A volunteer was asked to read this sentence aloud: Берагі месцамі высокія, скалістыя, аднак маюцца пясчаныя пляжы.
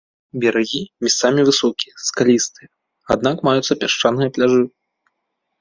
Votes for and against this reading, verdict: 0, 2, rejected